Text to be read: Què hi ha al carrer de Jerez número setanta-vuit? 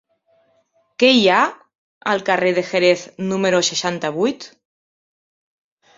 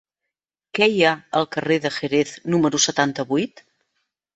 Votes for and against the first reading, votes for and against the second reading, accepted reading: 0, 2, 3, 0, second